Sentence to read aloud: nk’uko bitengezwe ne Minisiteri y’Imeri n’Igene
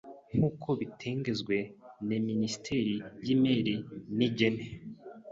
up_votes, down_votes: 1, 2